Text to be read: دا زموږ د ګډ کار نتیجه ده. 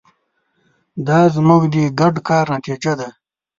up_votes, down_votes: 2, 0